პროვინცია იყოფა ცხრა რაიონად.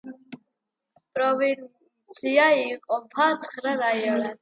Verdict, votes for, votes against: rejected, 1, 2